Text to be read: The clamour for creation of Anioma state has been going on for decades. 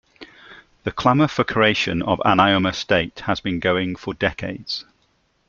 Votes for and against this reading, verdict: 1, 2, rejected